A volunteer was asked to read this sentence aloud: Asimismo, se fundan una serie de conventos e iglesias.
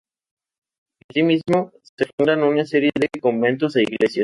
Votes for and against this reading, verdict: 0, 2, rejected